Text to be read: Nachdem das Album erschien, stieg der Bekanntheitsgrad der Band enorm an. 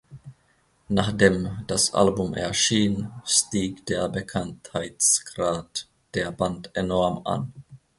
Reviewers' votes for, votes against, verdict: 2, 1, accepted